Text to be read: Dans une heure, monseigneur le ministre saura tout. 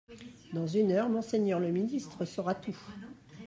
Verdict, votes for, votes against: accepted, 2, 1